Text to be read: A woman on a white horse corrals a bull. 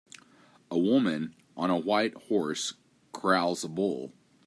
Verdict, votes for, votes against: accepted, 2, 1